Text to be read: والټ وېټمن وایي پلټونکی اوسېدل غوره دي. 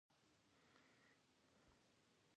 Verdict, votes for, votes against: rejected, 0, 2